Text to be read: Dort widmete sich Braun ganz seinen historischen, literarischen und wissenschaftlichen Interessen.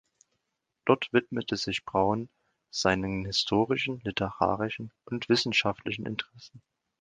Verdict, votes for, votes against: rejected, 0, 2